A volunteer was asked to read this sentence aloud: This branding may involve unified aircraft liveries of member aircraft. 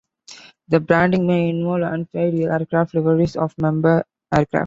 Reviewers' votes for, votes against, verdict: 1, 3, rejected